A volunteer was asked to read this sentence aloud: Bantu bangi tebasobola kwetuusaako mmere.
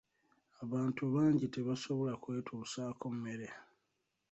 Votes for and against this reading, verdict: 2, 0, accepted